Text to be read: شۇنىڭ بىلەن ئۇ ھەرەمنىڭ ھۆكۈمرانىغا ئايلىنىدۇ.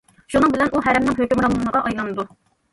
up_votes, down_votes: 1, 2